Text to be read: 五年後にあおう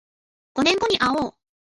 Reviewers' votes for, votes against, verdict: 1, 2, rejected